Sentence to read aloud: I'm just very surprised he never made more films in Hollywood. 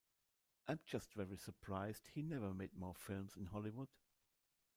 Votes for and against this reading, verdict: 1, 2, rejected